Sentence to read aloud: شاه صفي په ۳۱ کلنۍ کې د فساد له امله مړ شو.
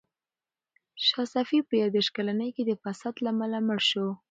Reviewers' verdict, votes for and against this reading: rejected, 0, 2